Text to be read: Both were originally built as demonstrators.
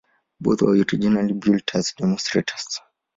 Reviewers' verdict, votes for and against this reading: rejected, 0, 2